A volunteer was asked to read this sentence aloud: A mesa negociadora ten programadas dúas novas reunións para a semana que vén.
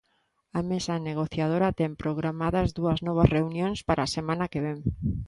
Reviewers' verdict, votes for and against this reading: accepted, 2, 0